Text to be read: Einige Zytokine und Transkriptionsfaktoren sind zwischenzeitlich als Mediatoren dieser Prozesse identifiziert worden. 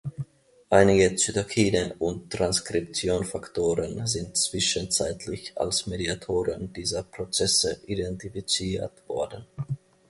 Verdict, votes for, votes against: rejected, 2, 3